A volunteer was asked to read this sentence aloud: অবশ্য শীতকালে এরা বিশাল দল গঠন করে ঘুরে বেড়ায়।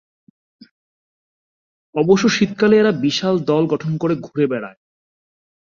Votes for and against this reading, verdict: 2, 0, accepted